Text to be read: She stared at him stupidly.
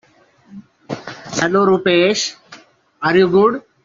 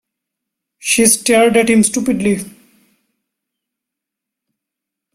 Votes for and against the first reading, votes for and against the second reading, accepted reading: 0, 2, 2, 0, second